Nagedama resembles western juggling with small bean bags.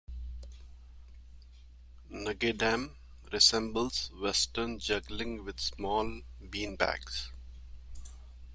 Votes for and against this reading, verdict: 2, 1, accepted